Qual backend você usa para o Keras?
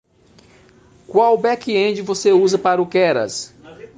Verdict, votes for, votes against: accepted, 2, 0